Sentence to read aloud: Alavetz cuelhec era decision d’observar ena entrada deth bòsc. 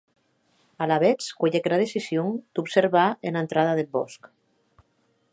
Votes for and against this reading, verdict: 0, 3, rejected